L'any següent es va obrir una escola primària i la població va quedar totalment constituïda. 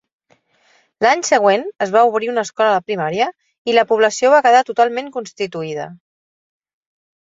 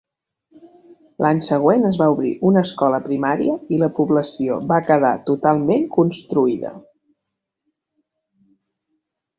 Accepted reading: first